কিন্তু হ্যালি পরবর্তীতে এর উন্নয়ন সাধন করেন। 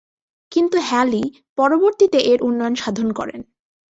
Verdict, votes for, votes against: accepted, 6, 1